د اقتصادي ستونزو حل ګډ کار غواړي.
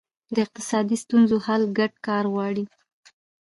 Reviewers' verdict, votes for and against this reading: rejected, 1, 2